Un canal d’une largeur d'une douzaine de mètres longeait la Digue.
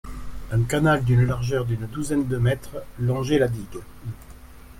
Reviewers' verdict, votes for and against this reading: accepted, 2, 0